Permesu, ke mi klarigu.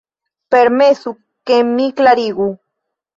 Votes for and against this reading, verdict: 1, 2, rejected